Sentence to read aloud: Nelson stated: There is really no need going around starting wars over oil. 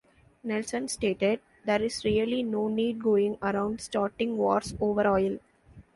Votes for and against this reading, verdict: 1, 2, rejected